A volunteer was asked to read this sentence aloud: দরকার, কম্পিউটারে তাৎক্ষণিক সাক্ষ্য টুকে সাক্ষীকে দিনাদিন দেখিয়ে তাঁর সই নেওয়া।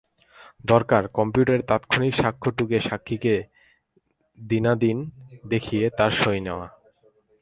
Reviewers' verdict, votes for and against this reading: rejected, 0, 4